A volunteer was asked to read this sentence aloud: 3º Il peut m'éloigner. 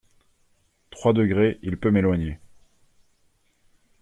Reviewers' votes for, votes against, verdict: 0, 2, rejected